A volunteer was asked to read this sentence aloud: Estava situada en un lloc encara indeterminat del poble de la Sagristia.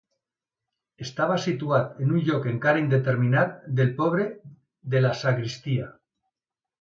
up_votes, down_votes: 1, 2